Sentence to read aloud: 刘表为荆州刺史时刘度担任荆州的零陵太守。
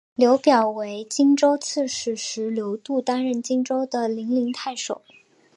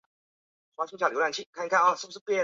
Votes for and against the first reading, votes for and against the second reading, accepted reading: 4, 0, 2, 3, first